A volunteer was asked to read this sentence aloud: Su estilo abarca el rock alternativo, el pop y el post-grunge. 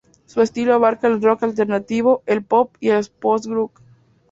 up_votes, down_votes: 2, 0